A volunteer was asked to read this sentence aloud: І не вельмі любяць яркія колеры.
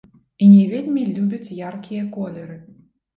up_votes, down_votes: 2, 0